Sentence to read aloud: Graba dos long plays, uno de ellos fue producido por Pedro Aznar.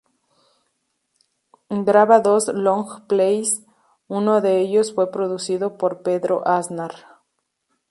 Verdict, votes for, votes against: accepted, 2, 0